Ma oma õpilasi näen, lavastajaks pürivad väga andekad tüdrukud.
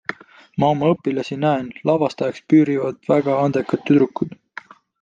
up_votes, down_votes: 2, 0